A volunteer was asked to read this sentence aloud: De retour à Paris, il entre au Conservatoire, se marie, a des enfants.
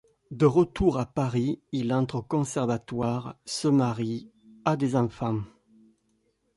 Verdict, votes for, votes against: accepted, 2, 0